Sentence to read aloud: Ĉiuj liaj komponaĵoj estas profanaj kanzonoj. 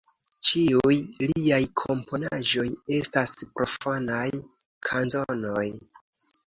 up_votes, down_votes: 2, 0